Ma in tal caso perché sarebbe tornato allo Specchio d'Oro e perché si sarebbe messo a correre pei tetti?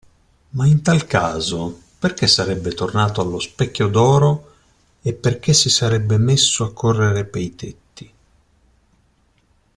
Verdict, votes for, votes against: accepted, 2, 0